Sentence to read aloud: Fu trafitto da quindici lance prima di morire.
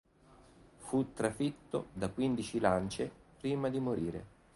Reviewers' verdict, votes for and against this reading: accepted, 2, 0